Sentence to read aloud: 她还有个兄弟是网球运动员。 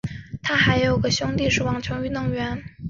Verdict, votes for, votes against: accepted, 3, 0